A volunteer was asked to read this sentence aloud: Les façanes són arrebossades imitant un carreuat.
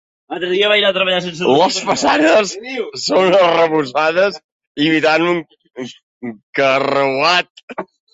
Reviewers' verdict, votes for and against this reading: rejected, 0, 2